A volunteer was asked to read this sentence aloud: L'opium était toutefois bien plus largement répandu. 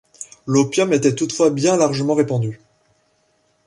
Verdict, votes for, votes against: rejected, 0, 2